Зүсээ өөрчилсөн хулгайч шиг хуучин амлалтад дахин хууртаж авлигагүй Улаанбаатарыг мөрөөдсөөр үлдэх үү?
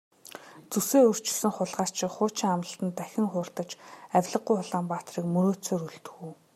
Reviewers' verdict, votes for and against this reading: accepted, 2, 0